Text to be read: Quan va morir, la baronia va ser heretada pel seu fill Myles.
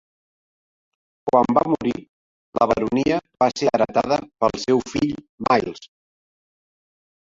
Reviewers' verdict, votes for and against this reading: rejected, 0, 2